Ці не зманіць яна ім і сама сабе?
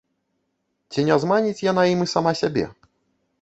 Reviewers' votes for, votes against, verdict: 1, 2, rejected